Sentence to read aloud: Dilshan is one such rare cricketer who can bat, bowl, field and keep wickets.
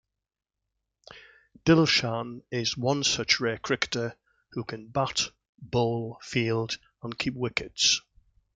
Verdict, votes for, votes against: accepted, 2, 1